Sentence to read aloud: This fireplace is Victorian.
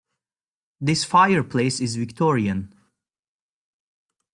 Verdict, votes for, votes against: accepted, 2, 0